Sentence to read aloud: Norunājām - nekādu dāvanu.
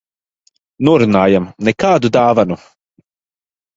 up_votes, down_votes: 0, 2